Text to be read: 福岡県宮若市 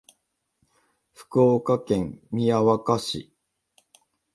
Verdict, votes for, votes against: accepted, 2, 0